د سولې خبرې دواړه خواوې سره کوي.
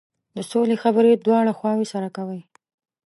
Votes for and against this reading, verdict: 3, 1, accepted